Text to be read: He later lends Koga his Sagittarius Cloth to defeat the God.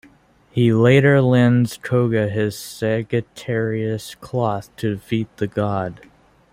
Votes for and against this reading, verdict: 1, 2, rejected